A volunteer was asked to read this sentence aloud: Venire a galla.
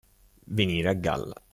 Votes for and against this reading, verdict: 2, 0, accepted